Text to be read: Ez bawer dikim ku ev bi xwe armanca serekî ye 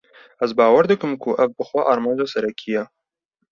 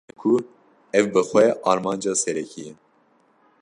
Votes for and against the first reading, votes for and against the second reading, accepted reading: 2, 0, 0, 2, first